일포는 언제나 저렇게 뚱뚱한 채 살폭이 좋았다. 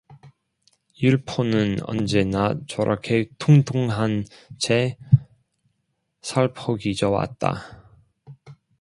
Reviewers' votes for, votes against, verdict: 1, 2, rejected